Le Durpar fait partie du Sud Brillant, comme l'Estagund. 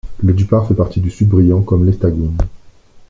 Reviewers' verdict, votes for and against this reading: rejected, 1, 2